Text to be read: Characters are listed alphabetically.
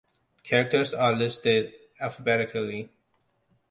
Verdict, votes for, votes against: accepted, 2, 0